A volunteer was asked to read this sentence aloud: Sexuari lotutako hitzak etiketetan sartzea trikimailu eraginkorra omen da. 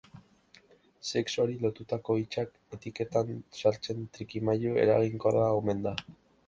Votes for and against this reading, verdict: 2, 0, accepted